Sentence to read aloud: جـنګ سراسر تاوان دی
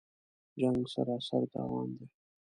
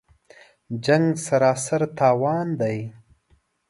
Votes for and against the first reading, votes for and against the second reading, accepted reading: 1, 2, 2, 0, second